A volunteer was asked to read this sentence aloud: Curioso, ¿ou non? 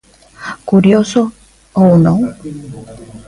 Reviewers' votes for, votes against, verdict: 1, 2, rejected